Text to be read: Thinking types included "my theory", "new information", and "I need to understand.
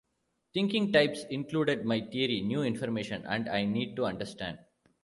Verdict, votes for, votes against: rejected, 1, 2